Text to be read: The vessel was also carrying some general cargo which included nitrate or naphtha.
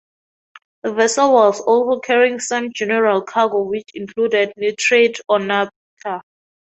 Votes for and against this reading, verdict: 2, 0, accepted